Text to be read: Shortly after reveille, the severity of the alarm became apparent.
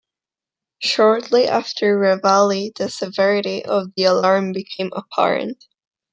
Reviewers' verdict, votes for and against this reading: accepted, 2, 0